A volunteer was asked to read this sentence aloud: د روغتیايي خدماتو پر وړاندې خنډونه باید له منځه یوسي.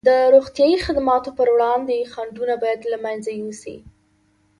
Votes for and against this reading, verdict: 2, 0, accepted